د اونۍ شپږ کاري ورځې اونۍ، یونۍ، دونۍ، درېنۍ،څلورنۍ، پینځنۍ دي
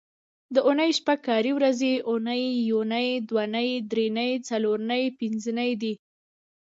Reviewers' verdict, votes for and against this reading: accepted, 2, 1